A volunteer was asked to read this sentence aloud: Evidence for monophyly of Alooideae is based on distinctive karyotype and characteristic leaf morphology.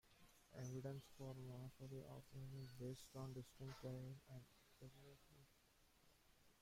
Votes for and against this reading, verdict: 0, 2, rejected